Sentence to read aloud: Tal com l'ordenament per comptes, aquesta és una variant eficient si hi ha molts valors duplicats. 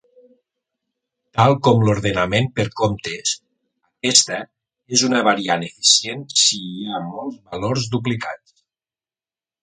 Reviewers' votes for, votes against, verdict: 0, 2, rejected